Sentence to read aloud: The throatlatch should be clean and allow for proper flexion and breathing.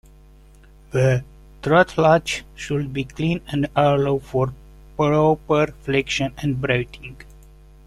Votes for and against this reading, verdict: 0, 2, rejected